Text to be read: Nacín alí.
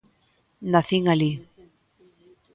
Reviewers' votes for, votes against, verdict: 2, 0, accepted